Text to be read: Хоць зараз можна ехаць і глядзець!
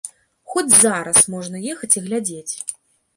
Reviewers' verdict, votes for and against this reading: accepted, 2, 0